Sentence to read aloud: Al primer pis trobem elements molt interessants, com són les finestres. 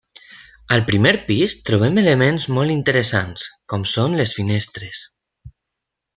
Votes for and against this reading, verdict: 3, 0, accepted